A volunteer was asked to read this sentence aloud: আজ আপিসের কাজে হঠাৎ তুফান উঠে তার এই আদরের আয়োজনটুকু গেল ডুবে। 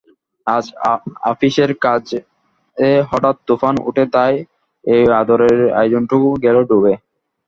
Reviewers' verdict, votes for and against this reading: accepted, 2, 0